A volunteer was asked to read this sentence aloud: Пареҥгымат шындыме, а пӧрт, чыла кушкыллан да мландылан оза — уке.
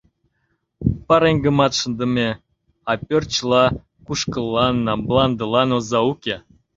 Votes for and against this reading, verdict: 1, 2, rejected